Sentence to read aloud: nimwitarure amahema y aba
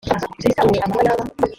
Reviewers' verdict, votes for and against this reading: rejected, 0, 2